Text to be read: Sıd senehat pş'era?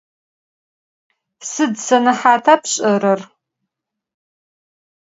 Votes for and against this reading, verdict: 2, 4, rejected